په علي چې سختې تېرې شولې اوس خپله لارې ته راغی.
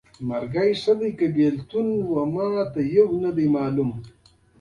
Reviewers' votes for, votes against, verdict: 2, 1, accepted